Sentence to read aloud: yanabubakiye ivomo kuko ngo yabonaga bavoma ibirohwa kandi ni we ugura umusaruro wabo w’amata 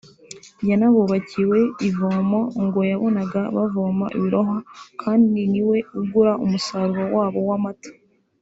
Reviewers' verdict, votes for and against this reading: rejected, 1, 2